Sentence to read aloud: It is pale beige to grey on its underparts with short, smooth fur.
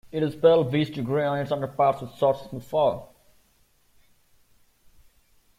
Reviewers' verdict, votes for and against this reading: rejected, 1, 2